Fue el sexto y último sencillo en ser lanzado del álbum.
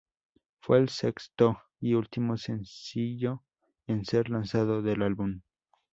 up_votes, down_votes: 2, 0